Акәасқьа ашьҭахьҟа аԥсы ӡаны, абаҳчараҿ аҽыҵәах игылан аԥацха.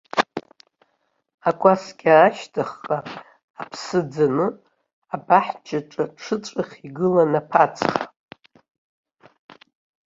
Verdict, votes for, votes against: rejected, 1, 2